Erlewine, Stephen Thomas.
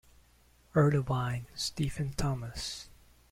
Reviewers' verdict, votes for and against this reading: accepted, 2, 0